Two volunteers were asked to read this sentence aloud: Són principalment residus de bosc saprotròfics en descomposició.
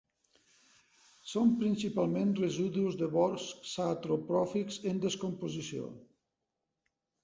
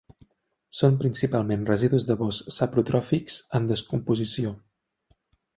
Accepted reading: second